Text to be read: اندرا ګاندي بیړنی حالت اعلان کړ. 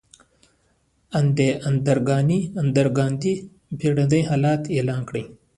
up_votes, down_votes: 1, 2